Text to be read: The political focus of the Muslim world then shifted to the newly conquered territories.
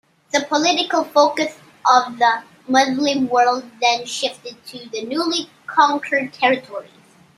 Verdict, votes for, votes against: accepted, 2, 1